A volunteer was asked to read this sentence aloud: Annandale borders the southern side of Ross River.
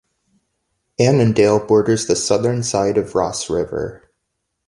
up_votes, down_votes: 2, 0